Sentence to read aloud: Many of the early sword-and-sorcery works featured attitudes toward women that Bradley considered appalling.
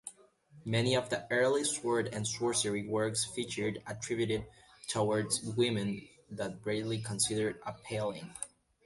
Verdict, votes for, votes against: rejected, 0, 2